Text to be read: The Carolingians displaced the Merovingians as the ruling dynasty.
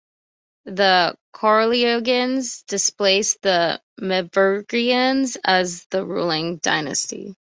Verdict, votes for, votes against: accepted, 2, 0